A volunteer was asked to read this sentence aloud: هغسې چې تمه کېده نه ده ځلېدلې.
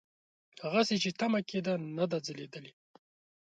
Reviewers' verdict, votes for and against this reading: accepted, 2, 0